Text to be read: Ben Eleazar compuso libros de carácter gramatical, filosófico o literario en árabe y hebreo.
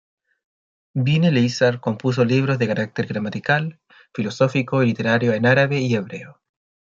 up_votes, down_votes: 2, 0